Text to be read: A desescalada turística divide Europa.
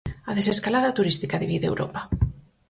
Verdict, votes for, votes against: accepted, 4, 0